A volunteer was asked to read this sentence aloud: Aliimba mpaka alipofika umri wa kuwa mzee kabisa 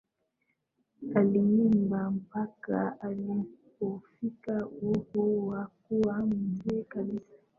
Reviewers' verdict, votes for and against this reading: accepted, 2, 1